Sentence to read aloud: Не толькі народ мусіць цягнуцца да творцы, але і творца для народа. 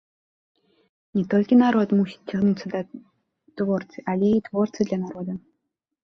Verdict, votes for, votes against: rejected, 1, 2